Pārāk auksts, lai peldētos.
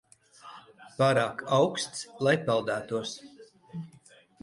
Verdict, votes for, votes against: rejected, 1, 2